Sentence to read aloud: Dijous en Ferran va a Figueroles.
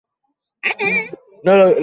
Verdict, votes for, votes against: rejected, 0, 2